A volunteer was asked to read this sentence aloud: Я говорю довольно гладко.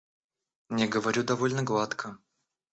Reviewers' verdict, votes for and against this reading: rejected, 0, 2